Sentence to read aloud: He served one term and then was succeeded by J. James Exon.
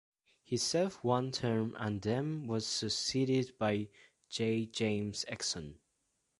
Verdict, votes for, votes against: rejected, 1, 2